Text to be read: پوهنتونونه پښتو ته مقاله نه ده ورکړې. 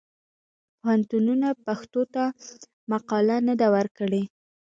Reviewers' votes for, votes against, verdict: 2, 1, accepted